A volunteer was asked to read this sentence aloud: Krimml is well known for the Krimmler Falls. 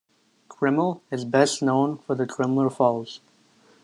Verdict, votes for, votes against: rejected, 0, 2